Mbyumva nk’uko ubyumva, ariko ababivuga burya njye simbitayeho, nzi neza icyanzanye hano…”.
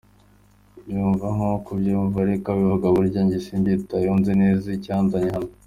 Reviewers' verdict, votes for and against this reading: accepted, 2, 0